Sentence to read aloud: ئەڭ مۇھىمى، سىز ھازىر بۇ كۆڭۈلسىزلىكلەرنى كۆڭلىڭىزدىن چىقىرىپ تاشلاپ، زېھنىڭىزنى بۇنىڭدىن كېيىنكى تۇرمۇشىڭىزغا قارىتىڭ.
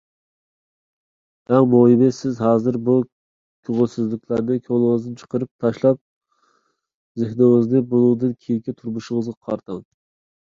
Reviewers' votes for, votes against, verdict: 2, 1, accepted